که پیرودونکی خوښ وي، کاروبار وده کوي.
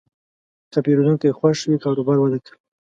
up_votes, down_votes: 2, 1